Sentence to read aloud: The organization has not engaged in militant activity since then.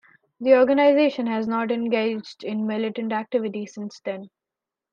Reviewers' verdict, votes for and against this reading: accepted, 2, 0